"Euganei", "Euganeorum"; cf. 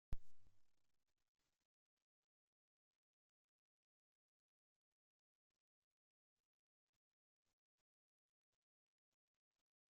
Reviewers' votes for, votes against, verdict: 0, 2, rejected